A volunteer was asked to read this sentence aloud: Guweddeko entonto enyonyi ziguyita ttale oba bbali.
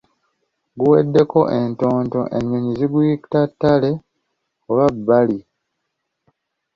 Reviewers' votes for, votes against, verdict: 2, 0, accepted